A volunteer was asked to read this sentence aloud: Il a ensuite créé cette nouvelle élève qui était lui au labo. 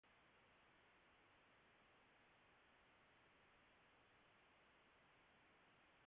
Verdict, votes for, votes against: rejected, 1, 2